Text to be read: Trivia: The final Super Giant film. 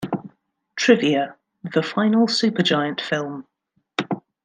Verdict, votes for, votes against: accepted, 2, 0